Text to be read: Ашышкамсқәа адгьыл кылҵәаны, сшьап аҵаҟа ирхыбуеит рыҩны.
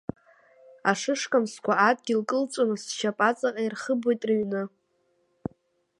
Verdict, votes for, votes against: accepted, 2, 1